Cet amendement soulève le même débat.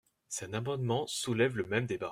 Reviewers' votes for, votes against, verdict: 0, 2, rejected